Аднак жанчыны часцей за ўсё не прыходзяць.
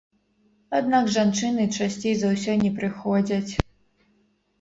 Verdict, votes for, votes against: accepted, 2, 0